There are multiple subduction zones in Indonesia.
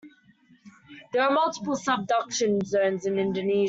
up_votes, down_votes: 1, 2